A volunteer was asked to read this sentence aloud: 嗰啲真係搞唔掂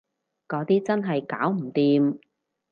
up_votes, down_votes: 4, 0